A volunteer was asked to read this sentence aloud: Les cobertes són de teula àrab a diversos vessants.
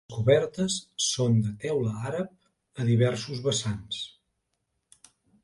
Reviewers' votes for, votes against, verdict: 1, 2, rejected